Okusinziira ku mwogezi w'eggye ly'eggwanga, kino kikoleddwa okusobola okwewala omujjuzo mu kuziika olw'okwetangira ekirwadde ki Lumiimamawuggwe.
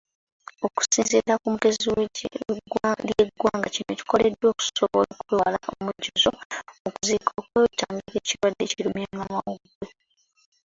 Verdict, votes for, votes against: rejected, 0, 2